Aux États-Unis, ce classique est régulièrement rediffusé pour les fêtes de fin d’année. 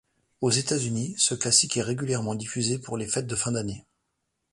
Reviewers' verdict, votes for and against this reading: rejected, 0, 2